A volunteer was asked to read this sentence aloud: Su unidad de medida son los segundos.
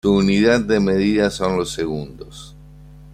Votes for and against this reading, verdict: 1, 2, rejected